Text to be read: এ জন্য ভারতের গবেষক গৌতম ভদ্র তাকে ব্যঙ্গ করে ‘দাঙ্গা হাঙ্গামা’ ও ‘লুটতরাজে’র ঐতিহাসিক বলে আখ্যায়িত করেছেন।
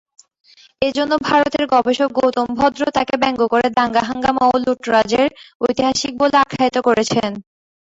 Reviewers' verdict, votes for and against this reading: accepted, 2, 1